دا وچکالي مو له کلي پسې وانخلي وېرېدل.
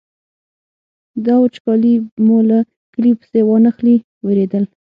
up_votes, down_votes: 6, 0